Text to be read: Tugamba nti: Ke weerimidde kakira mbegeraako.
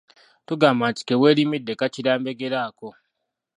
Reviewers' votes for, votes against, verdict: 1, 2, rejected